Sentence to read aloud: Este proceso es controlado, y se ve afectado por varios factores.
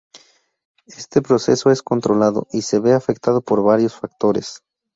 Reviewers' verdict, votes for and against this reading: accepted, 2, 0